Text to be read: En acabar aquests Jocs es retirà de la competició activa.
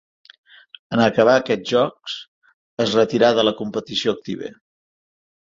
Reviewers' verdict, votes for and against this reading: accepted, 2, 0